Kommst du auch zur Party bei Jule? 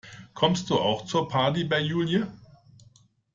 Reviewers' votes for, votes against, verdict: 1, 2, rejected